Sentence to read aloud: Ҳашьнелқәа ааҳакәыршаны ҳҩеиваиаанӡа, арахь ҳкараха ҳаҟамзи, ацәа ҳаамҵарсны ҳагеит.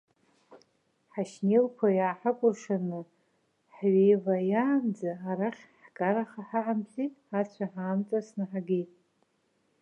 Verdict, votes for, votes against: rejected, 1, 2